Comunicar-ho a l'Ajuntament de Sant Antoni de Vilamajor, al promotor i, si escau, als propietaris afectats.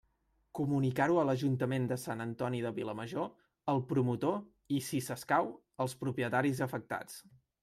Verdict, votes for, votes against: rejected, 0, 2